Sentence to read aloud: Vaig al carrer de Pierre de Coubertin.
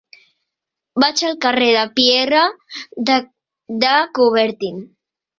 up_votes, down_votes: 0, 2